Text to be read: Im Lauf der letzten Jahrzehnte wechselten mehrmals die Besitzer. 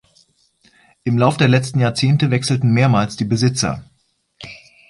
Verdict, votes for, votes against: accepted, 2, 0